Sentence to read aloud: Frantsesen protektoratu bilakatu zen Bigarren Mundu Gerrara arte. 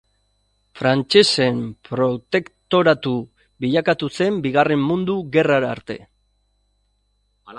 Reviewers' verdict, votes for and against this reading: accepted, 3, 0